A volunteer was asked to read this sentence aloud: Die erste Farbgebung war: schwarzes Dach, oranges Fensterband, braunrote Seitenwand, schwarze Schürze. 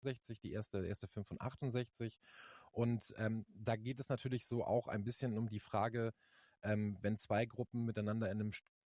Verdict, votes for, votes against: rejected, 0, 2